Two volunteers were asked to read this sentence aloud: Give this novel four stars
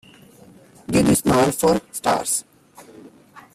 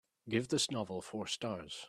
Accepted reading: second